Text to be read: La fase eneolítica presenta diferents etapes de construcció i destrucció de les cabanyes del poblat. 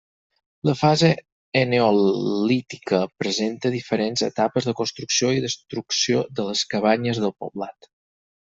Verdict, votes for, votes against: rejected, 2, 4